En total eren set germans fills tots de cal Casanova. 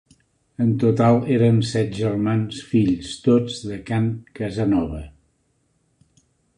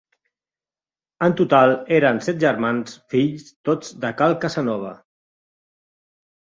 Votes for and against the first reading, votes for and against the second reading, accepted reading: 0, 2, 2, 0, second